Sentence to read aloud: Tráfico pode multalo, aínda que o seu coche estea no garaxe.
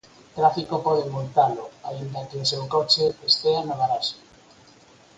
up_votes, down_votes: 4, 0